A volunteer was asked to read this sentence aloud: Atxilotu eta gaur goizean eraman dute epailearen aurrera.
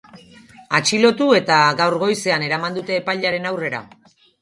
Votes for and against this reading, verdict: 2, 0, accepted